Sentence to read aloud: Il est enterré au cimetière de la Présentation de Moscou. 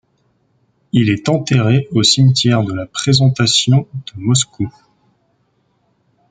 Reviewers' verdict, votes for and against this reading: accepted, 2, 0